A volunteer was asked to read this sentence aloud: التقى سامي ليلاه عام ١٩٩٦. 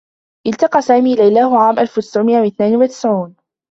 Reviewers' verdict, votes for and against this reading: rejected, 0, 2